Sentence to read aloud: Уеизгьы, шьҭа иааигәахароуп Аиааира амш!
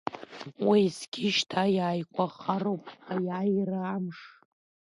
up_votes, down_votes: 2, 1